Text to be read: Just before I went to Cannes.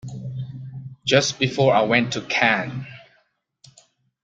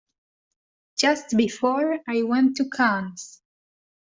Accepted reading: second